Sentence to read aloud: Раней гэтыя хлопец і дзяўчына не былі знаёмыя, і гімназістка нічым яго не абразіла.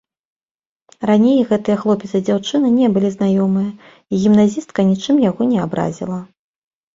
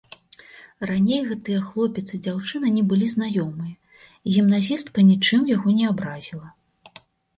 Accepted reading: second